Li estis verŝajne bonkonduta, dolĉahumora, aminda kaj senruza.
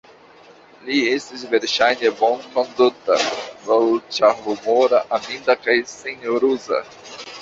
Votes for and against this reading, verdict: 1, 2, rejected